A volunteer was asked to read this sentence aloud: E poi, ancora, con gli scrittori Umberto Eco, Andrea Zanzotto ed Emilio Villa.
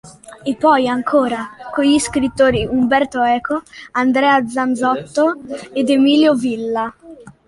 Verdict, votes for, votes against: accepted, 2, 0